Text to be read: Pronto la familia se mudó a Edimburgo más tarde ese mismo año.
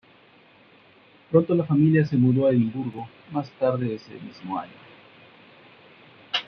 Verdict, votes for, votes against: accepted, 2, 1